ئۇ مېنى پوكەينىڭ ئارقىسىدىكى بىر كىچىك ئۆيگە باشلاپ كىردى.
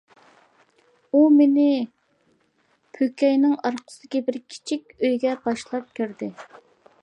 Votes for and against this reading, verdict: 2, 0, accepted